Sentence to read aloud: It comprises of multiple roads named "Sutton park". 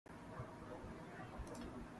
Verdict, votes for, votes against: rejected, 0, 2